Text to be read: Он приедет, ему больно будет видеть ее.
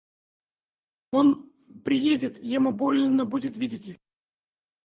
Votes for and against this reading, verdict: 2, 4, rejected